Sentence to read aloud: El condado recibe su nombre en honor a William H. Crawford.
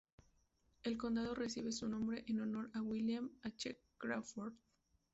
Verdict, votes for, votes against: rejected, 0, 2